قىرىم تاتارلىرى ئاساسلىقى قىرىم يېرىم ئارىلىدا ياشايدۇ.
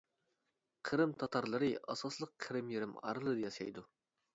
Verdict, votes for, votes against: accepted, 2, 0